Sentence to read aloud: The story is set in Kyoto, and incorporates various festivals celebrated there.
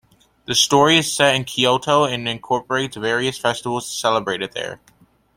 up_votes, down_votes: 2, 0